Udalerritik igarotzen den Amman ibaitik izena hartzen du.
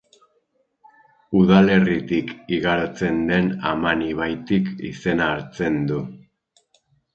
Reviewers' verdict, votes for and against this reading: rejected, 2, 2